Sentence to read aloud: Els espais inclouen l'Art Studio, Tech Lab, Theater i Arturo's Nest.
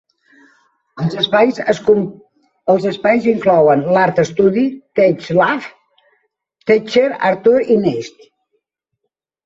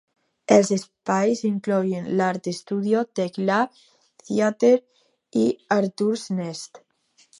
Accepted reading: second